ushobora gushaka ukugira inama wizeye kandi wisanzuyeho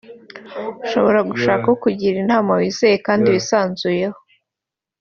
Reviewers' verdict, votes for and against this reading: accepted, 2, 0